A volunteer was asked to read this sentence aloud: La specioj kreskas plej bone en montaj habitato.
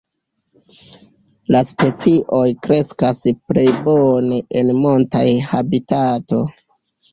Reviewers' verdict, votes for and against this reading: rejected, 1, 2